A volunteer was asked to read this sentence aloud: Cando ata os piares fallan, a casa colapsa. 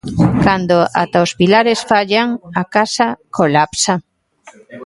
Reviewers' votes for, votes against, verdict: 1, 2, rejected